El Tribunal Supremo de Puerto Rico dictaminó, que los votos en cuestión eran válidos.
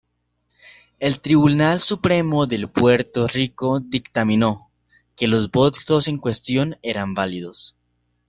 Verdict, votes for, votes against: rejected, 1, 2